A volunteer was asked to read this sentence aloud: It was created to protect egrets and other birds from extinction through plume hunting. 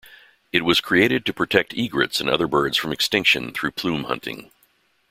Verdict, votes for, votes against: accepted, 2, 0